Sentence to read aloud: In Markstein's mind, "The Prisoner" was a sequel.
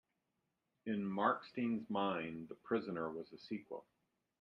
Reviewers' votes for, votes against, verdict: 2, 0, accepted